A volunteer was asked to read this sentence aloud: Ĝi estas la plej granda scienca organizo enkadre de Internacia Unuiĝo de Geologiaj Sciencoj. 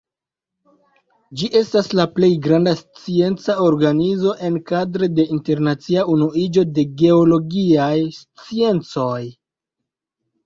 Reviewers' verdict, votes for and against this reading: rejected, 0, 2